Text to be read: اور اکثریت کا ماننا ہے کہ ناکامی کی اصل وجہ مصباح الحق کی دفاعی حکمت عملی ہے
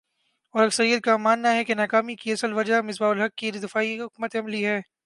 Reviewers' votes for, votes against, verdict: 0, 2, rejected